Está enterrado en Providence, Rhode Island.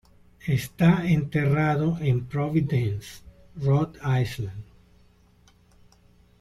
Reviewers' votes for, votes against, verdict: 2, 0, accepted